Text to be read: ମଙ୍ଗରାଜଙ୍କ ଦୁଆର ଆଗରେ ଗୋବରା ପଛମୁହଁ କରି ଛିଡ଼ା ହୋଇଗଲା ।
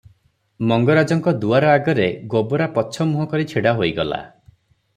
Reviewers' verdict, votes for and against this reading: accepted, 3, 0